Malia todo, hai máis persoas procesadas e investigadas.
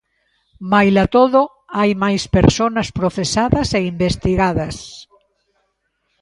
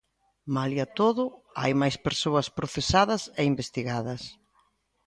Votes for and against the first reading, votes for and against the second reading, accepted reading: 0, 2, 2, 0, second